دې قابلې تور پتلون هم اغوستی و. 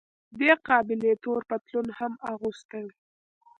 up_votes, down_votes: 2, 0